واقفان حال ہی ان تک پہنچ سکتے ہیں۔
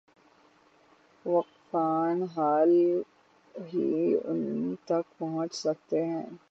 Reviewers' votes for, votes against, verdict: 0, 3, rejected